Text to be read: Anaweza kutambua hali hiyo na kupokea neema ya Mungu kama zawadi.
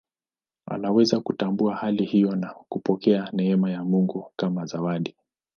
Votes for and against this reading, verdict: 2, 0, accepted